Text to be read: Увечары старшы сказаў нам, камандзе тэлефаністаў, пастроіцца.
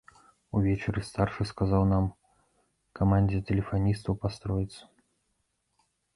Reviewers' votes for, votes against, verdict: 1, 2, rejected